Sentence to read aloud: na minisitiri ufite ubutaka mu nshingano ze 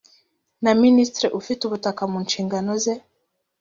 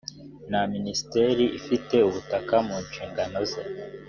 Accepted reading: first